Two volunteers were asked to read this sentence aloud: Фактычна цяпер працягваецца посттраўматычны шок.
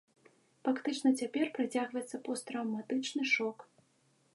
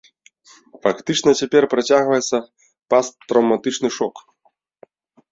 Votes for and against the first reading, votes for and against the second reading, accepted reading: 2, 0, 1, 2, first